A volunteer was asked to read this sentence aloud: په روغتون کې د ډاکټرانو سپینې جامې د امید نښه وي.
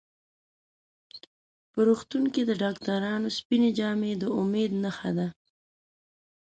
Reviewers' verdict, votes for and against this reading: rejected, 0, 2